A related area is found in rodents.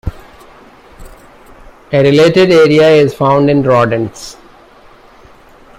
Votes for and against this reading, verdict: 2, 0, accepted